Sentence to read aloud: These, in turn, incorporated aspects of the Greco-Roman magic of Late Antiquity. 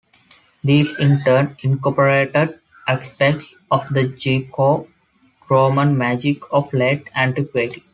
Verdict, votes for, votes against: rejected, 1, 2